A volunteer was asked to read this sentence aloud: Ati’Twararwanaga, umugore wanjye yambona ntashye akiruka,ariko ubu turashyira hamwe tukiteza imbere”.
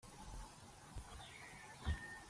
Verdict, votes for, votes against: rejected, 0, 2